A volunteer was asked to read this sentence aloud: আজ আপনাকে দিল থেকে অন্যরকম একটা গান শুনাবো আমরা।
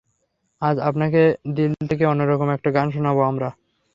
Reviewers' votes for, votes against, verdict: 3, 0, accepted